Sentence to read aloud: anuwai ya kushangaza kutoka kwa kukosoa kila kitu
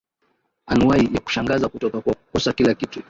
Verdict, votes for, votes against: accepted, 2, 1